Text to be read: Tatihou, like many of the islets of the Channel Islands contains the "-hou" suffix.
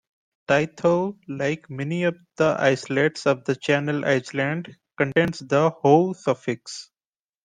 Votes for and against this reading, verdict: 0, 2, rejected